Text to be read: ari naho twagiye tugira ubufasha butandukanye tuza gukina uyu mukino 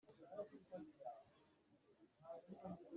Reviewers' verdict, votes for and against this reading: rejected, 0, 2